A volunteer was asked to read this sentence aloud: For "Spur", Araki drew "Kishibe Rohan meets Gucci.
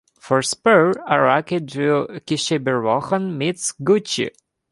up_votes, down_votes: 2, 0